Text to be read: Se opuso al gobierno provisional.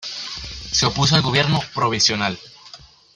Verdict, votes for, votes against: rejected, 1, 2